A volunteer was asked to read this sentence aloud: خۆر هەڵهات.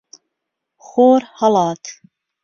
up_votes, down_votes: 0, 2